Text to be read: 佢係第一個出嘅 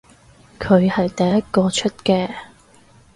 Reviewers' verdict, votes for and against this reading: accepted, 4, 0